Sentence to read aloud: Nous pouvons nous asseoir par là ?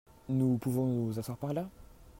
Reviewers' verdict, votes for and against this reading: accepted, 2, 0